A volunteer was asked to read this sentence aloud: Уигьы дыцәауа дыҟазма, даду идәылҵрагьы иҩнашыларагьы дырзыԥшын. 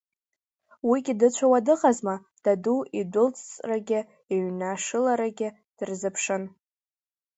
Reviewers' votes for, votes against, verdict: 2, 1, accepted